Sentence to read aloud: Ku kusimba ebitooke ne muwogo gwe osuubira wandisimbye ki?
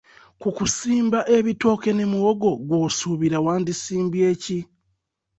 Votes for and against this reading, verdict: 2, 0, accepted